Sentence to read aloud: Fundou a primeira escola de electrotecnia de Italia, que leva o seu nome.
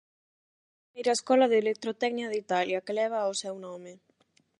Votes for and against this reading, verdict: 0, 8, rejected